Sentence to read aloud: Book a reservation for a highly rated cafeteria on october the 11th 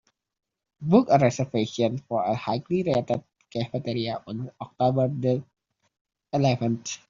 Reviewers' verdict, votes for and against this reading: rejected, 0, 2